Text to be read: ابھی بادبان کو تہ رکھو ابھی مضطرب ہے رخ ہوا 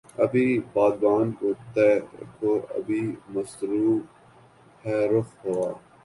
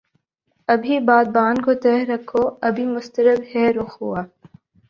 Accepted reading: second